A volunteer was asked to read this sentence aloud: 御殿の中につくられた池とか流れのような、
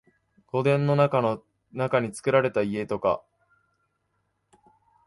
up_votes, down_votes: 1, 2